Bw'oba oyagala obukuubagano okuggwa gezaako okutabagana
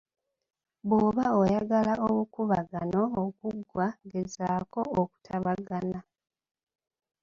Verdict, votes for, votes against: rejected, 1, 2